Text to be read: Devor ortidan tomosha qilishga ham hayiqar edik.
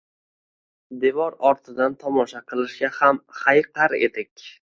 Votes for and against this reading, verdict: 2, 0, accepted